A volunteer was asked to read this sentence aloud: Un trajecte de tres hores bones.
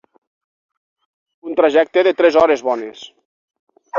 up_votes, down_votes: 6, 0